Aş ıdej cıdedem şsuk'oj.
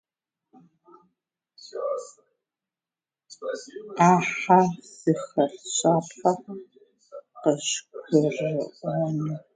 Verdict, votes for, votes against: rejected, 0, 2